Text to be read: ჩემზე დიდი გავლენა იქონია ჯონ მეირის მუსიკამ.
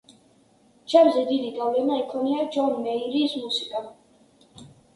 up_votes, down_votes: 1, 2